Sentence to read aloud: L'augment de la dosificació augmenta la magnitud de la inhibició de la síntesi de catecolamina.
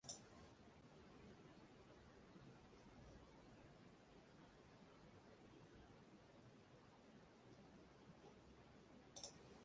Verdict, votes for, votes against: rejected, 0, 2